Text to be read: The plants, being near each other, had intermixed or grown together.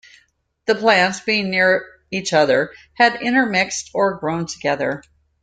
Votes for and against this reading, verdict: 2, 0, accepted